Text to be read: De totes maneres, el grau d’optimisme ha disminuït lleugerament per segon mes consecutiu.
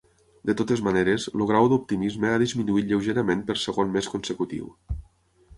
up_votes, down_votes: 3, 6